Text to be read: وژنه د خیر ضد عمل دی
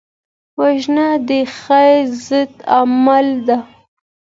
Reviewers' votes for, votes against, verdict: 2, 0, accepted